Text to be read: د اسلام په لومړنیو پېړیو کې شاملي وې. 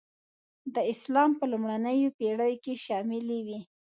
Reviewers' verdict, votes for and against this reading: accepted, 2, 0